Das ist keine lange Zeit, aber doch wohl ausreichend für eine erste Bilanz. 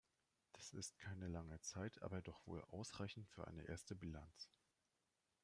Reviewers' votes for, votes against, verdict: 2, 0, accepted